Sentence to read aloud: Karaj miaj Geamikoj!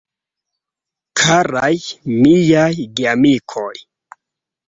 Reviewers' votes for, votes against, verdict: 2, 0, accepted